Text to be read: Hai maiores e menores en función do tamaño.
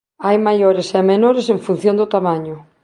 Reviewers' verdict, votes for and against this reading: accepted, 2, 0